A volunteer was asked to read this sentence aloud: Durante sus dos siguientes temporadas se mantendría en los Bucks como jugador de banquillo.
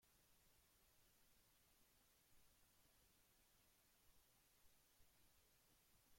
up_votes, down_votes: 0, 2